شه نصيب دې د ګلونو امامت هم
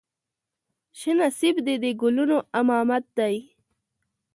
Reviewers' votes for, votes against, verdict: 1, 2, rejected